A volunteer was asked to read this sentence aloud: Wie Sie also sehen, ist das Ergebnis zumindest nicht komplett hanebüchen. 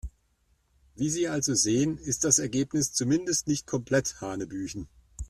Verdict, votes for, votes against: accepted, 2, 0